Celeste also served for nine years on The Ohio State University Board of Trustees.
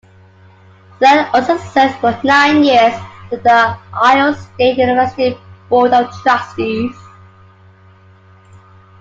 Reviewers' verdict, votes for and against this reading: rejected, 1, 2